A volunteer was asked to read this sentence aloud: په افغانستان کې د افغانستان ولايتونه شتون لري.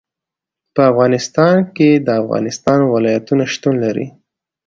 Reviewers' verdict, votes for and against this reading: accepted, 2, 0